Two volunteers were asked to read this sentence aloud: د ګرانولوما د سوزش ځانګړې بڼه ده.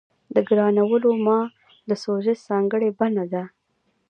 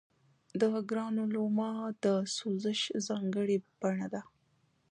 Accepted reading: first